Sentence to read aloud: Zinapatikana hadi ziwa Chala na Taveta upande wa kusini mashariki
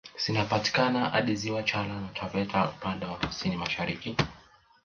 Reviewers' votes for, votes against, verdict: 2, 0, accepted